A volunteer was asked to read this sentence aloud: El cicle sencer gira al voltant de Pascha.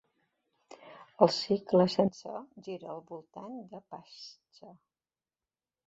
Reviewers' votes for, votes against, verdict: 0, 2, rejected